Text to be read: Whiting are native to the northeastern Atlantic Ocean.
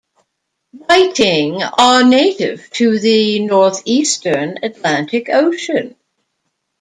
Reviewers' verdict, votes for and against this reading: rejected, 1, 2